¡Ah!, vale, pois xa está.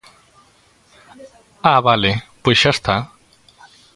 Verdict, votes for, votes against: accepted, 2, 0